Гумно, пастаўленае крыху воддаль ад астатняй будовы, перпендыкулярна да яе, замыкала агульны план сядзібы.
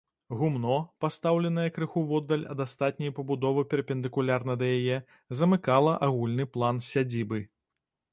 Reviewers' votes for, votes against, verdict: 1, 2, rejected